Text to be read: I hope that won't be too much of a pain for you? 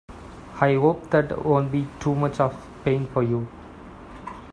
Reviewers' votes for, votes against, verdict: 0, 2, rejected